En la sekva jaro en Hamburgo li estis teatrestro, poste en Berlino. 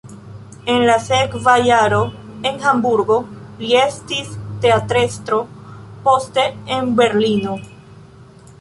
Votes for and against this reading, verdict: 2, 0, accepted